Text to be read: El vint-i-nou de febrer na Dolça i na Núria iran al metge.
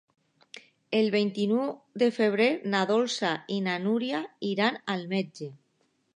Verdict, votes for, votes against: rejected, 0, 2